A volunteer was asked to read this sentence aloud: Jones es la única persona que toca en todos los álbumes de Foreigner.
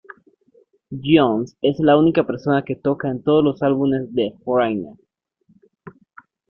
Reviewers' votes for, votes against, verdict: 2, 1, accepted